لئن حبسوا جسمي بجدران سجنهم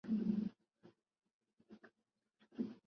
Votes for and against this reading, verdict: 0, 2, rejected